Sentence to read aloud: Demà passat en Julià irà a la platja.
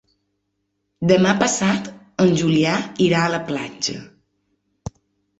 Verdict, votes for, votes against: accepted, 3, 0